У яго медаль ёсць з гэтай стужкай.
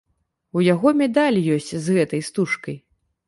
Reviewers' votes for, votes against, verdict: 2, 0, accepted